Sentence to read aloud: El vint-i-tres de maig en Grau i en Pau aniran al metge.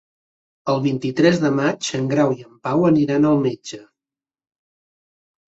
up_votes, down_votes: 4, 0